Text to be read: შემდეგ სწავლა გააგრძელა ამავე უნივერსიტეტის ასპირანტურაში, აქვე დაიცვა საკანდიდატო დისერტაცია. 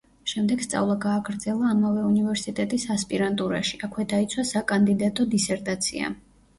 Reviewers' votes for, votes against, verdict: 2, 1, accepted